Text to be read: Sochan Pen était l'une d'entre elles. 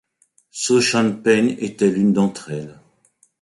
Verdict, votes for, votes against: accepted, 2, 0